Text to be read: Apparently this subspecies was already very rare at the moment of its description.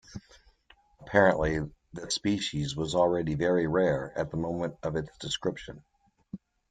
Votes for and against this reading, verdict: 1, 3, rejected